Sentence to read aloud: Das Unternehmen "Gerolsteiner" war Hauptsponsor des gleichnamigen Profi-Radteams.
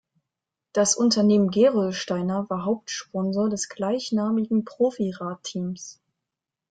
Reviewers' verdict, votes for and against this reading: accepted, 2, 0